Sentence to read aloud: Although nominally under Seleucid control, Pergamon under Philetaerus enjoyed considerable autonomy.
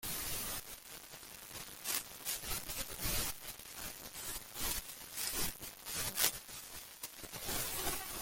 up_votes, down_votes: 0, 2